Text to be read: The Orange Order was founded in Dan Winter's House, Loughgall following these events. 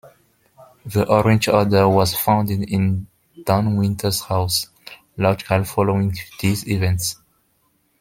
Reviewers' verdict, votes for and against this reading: rejected, 1, 2